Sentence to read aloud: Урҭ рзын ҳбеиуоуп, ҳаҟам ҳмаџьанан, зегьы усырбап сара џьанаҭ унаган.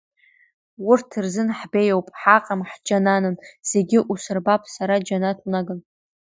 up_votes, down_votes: 0, 2